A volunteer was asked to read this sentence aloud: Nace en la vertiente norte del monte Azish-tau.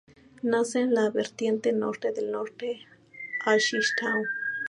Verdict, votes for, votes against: accepted, 2, 0